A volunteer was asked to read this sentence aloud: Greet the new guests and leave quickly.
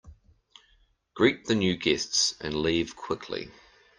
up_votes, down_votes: 2, 0